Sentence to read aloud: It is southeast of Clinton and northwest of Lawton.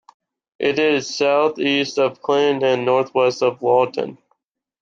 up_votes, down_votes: 1, 2